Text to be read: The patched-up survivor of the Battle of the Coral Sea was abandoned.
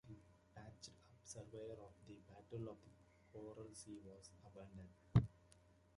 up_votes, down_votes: 1, 2